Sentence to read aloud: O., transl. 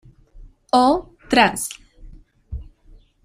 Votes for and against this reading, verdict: 0, 2, rejected